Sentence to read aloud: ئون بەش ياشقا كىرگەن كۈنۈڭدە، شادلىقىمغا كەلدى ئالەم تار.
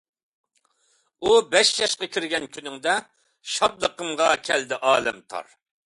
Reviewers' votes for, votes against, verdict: 0, 2, rejected